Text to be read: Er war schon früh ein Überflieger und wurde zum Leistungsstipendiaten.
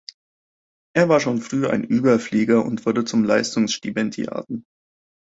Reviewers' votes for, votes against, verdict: 2, 0, accepted